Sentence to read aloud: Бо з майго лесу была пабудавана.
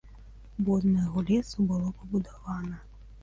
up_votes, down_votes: 1, 2